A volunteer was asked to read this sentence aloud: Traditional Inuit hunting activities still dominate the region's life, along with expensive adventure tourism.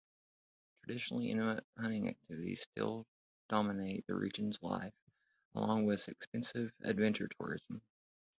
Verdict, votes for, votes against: rejected, 0, 3